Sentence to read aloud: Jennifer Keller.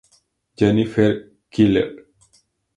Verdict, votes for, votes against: accepted, 2, 0